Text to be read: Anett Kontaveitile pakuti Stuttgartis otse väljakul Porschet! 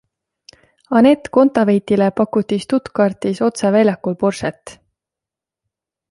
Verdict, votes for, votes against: accepted, 2, 0